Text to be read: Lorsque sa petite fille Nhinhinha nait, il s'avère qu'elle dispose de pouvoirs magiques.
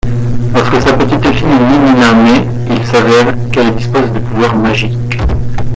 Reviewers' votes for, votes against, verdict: 1, 2, rejected